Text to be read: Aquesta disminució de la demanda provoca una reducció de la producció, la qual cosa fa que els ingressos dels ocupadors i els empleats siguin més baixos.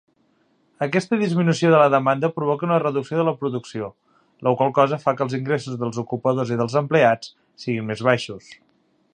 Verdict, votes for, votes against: accepted, 2, 0